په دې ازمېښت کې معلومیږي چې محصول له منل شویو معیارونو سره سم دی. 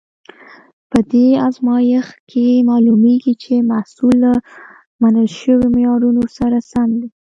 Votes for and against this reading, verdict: 1, 2, rejected